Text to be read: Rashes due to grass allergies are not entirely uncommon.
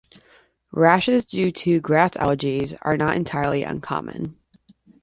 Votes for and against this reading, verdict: 2, 0, accepted